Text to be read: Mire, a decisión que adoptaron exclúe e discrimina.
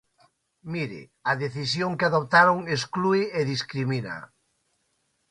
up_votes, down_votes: 2, 0